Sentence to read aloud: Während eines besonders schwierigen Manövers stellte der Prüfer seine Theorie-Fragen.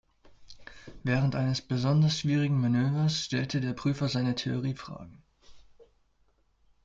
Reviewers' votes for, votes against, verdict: 2, 0, accepted